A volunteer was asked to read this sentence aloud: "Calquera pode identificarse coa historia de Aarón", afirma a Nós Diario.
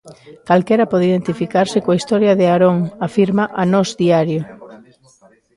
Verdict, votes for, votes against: rejected, 0, 2